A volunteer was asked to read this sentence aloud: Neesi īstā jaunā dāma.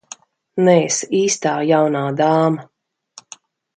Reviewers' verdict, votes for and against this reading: accepted, 2, 0